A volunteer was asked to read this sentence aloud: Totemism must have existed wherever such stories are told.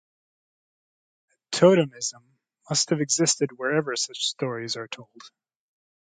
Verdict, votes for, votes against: accepted, 2, 0